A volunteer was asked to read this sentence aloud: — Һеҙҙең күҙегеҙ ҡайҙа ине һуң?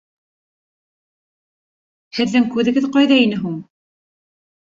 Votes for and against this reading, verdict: 2, 0, accepted